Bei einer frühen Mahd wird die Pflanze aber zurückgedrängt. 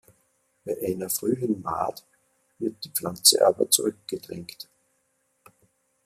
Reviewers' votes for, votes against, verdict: 2, 0, accepted